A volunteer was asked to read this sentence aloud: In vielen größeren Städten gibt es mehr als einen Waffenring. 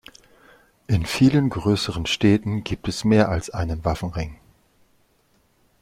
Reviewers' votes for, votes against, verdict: 2, 0, accepted